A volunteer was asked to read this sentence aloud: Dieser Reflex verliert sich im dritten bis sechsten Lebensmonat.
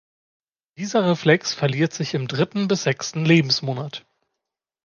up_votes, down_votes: 2, 0